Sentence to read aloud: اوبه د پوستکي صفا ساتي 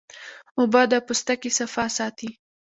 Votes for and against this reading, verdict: 2, 1, accepted